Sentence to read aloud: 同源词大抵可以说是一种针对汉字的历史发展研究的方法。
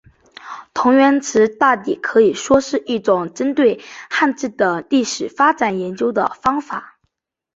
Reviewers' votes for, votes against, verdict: 3, 0, accepted